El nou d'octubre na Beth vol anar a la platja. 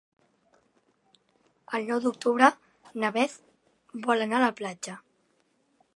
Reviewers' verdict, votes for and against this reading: accepted, 3, 0